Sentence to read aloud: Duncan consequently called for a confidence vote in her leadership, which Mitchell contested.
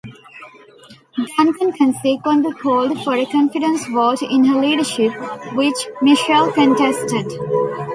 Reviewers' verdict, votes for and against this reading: rejected, 1, 2